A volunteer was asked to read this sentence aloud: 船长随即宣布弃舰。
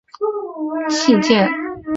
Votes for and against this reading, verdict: 0, 3, rejected